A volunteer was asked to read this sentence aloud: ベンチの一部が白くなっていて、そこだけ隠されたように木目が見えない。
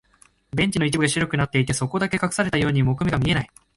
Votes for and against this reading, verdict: 3, 2, accepted